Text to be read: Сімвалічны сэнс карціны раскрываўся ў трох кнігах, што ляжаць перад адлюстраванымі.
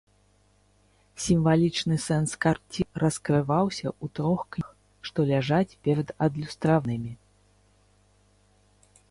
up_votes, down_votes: 1, 3